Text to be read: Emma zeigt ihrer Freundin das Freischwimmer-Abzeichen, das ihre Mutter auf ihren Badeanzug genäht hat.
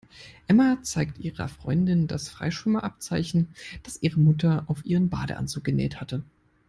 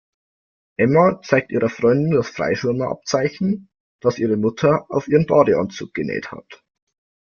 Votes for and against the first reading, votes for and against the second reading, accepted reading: 0, 2, 2, 0, second